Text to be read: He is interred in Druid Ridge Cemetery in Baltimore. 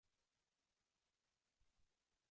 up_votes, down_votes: 0, 3